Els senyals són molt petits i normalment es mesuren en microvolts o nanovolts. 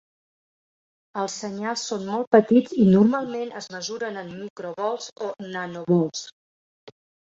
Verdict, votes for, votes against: accepted, 2, 0